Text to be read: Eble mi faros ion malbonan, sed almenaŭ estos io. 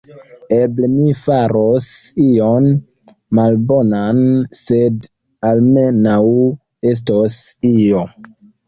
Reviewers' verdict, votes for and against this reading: accepted, 3, 2